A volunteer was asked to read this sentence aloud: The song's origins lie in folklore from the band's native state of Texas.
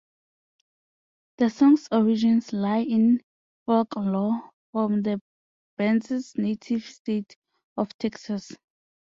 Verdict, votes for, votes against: rejected, 1, 2